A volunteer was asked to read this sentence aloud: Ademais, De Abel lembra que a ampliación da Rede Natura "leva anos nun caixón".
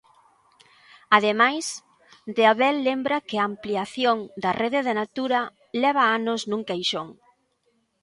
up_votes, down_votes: 1, 2